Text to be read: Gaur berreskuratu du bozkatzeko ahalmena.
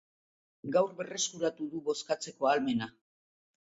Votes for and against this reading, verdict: 2, 0, accepted